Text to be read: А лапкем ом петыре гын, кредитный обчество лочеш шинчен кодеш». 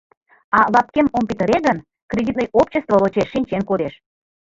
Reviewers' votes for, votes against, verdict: 2, 0, accepted